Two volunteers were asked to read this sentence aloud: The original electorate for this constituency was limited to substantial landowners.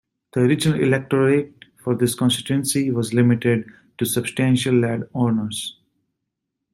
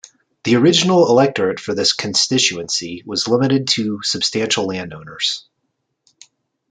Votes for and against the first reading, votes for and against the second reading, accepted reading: 1, 2, 2, 0, second